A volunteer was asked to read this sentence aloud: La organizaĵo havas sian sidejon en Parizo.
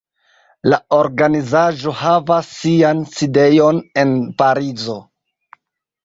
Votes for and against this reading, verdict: 2, 1, accepted